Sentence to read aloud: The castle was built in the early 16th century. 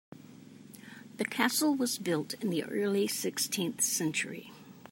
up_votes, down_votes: 0, 2